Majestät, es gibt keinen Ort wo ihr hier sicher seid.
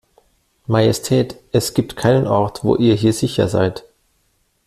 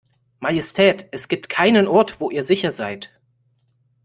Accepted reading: first